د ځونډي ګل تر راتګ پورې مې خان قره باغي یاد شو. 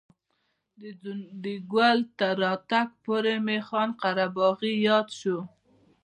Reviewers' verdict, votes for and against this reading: accepted, 2, 1